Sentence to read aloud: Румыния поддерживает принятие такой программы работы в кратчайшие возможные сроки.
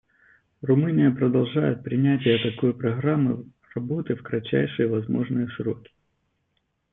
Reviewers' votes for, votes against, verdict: 0, 2, rejected